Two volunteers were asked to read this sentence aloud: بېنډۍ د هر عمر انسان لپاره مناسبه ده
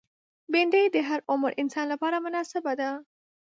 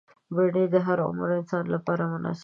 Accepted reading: first